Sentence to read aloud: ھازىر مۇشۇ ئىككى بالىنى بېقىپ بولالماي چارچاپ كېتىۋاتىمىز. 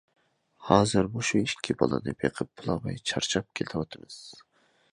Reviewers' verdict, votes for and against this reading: accepted, 2, 0